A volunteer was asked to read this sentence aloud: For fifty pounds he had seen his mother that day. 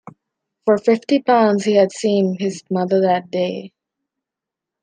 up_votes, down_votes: 2, 0